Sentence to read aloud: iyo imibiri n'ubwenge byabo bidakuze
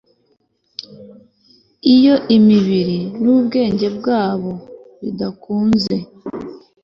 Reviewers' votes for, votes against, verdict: 1, 2, rejected